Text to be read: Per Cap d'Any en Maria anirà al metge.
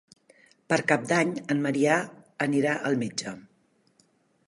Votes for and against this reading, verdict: 3, 1, accepted